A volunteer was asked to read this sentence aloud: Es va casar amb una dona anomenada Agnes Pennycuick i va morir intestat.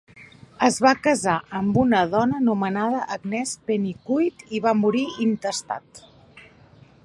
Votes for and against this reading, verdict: 3, 0, accepted